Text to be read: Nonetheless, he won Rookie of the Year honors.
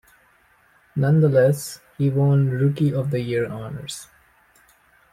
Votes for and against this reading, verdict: 3, 0, accepted